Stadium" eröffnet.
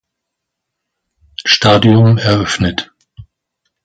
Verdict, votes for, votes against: accepted, 2, 0